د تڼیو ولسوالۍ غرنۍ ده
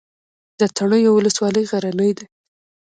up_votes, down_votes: 2, 0